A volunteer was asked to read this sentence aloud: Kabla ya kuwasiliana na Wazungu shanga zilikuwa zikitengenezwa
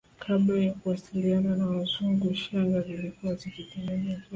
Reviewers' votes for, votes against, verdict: 2, 0, accepted